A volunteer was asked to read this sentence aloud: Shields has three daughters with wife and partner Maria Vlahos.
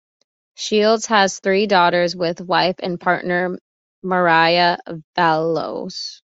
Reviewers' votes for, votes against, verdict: 1, 2, rejected